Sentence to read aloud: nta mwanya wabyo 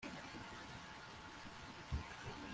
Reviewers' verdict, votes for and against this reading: rejected, 1, 2